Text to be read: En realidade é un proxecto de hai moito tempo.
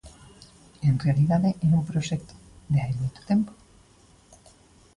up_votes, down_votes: 2, 0